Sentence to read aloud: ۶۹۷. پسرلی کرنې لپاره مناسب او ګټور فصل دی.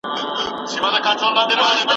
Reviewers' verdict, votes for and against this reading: rejected, 0, 2